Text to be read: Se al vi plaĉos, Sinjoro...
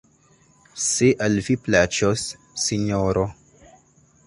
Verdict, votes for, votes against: rejected, 0, 2